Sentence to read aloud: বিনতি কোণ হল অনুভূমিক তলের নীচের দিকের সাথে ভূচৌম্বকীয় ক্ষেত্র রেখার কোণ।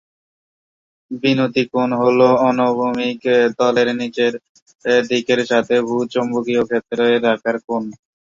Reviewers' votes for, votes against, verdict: 3, 4, rejected